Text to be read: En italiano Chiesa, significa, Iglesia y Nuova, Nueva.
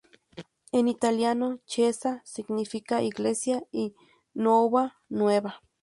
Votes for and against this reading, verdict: 2, 0, accepted